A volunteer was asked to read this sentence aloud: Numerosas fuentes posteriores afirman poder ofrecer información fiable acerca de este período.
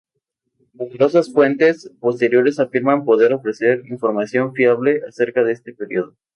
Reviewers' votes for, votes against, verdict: 4, 0, accepted